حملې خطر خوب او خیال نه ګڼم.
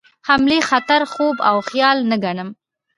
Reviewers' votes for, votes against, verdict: 2, 0, accepted